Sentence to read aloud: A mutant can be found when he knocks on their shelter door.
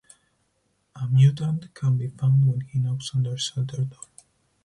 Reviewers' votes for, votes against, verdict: 2, 4, rejected